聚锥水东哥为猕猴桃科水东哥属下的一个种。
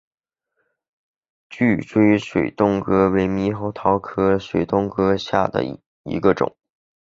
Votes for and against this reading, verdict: 2, 0, accepted